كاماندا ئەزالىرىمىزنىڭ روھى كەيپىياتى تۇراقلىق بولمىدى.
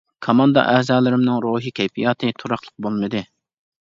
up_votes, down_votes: 0, 2